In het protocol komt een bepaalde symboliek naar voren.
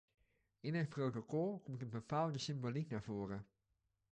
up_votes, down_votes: 2, 1